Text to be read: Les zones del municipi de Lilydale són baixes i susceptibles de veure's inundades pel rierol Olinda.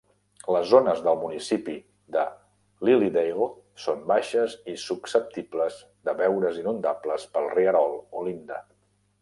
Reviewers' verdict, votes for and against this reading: rejected, 1, 2